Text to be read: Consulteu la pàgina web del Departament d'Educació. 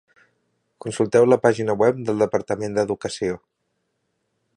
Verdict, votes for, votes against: accepted, 2, 0